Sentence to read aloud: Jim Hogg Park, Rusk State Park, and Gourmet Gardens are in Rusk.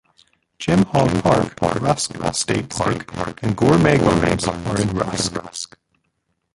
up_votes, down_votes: 0, 2